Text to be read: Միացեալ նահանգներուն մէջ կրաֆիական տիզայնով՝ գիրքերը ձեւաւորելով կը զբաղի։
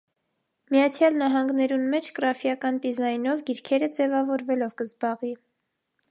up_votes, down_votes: 1, 2